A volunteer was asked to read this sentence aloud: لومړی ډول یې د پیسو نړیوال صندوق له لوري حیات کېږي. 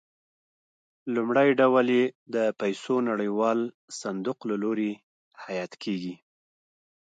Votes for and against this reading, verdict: 3, 1, accepted